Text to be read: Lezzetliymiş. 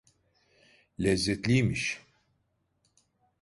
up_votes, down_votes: 2, 0